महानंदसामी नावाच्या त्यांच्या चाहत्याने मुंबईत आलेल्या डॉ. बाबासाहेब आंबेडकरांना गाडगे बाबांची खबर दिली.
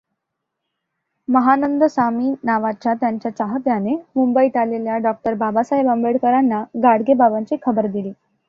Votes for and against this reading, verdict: 2, 0, accepted